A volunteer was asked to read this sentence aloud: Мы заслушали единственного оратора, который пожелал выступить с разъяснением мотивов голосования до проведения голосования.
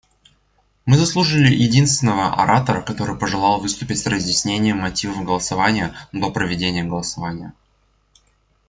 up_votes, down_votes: 1, 2